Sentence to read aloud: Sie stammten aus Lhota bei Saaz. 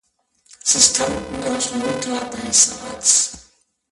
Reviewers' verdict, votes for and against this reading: rejected, 0, 2